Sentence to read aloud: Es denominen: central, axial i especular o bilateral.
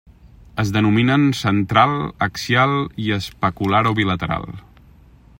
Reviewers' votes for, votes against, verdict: 3, 0, accepted